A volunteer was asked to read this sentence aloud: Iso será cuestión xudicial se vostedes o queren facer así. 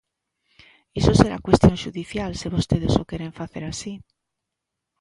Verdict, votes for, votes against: accepted, 2, 0